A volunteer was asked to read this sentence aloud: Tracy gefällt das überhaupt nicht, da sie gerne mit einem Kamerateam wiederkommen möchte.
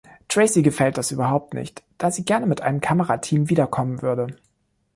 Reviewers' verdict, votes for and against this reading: rejected, 0, 2